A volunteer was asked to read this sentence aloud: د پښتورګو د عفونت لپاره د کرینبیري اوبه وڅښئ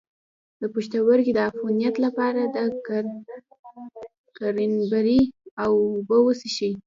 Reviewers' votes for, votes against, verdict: 1, 2, rejected